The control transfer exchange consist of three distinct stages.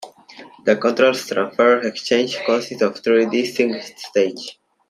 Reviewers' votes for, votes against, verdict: 0, 2, rejected